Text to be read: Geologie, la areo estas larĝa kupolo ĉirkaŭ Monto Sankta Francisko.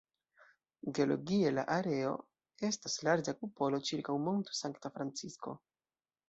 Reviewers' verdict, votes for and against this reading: rejected, 2, 3